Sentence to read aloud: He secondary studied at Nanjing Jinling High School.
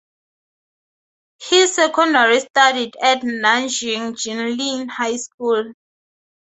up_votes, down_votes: 10, 4